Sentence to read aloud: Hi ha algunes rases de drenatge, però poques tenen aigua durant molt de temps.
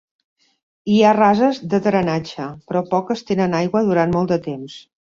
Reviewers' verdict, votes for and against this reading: rejected, 0, 2